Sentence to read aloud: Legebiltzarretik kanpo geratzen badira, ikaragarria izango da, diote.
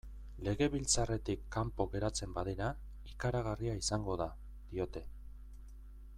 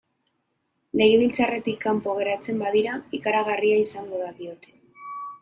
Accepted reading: first